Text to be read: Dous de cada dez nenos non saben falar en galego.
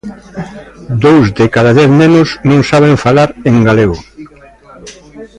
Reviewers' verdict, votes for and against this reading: rejected, 1, 2